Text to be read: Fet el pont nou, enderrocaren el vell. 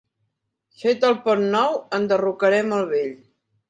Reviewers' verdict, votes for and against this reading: rejected, 0, 2